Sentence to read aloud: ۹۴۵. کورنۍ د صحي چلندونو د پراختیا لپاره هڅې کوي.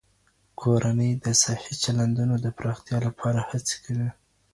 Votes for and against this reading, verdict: 0, 2, rejected